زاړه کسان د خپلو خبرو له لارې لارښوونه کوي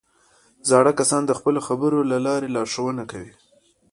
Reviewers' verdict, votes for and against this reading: accepted, 2, 1